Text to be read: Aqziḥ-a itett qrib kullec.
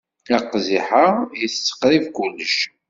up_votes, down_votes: 2, 0